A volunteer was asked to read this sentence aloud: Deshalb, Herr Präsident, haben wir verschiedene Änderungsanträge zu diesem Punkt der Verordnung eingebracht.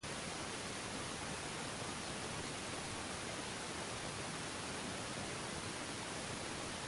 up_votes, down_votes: 0, 2